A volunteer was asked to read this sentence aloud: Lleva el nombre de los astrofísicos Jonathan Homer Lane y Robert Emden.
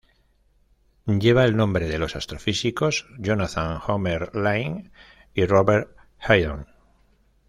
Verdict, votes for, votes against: rejected, 1, 2